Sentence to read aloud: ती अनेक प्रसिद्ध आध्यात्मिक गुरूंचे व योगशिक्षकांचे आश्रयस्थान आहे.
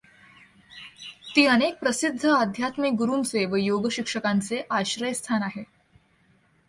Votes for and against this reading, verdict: 2, 0, accepted